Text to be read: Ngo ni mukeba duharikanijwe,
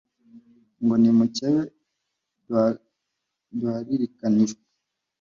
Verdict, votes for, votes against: rejected, 1, 2